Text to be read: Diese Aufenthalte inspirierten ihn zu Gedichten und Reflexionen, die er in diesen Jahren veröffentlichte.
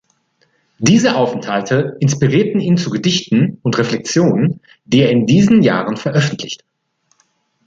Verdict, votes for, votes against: rejected, 1, 2